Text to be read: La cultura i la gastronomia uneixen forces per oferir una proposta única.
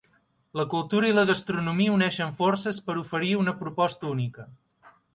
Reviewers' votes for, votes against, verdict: 6, 0, accepted